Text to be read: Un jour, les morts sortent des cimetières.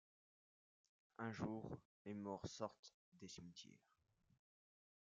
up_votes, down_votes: 1, 2